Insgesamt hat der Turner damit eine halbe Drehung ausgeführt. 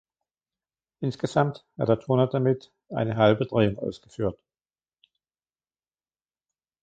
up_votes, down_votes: 2, 0